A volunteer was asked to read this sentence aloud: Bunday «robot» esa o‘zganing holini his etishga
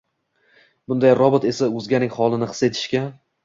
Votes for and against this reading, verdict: 2, 0, accepted